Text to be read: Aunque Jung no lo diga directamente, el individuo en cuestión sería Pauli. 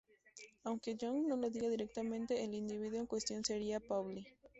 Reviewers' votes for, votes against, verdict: 2, 0, accepted